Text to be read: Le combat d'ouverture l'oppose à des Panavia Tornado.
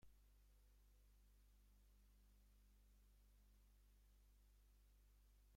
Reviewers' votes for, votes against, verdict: 0, 3, rejected